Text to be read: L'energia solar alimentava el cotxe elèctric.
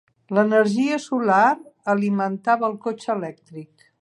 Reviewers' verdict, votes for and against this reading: accepted, 3, 0